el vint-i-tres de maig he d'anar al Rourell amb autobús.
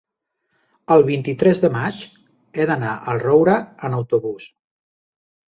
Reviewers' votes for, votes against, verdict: 0, 2, rejected